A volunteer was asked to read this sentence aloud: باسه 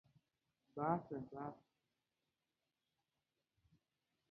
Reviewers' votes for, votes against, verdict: 1, 2, rejected